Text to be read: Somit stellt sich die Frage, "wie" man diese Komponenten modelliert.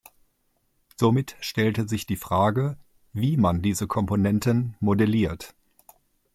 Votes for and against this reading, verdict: 0, 2, rejected